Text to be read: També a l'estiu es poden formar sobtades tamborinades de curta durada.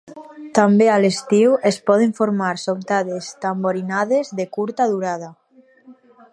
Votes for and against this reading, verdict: 4, 0, accepted